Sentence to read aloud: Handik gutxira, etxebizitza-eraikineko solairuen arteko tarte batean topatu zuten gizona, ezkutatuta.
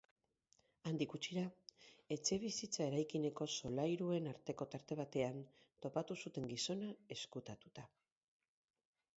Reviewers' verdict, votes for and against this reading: rejected, 2, 2